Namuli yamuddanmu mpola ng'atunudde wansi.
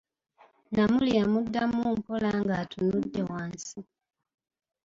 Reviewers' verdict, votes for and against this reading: accepted, 2, 0